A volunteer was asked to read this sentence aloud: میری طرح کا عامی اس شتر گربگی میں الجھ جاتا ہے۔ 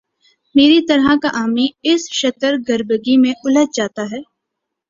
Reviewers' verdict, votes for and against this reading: accepted, 3, 0